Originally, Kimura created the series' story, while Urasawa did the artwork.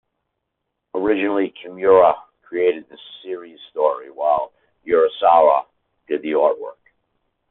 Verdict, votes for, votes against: accepted, 2, 0